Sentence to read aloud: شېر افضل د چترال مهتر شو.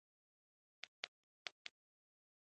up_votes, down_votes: 1, 2